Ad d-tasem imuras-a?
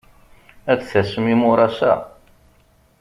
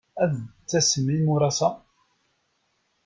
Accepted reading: first